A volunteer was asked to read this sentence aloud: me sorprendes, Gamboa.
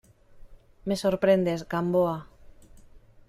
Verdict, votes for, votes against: accepted, 2, 0